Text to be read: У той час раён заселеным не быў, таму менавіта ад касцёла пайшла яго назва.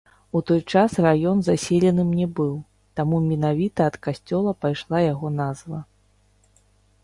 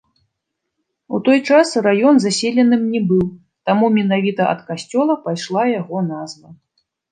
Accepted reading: second